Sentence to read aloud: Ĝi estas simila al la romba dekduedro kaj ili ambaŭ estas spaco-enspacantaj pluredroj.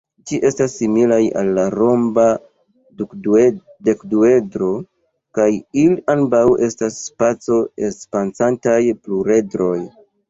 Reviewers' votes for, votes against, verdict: 1, 2, rejected